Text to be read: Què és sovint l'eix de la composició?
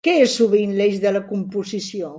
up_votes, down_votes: 3, 1